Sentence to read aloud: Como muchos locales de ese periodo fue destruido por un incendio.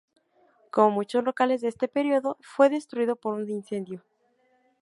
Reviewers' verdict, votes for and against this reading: rejected, 0, 2